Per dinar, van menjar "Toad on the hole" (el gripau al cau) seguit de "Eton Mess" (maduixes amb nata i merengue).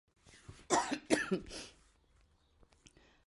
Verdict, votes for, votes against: rejected, 0, 2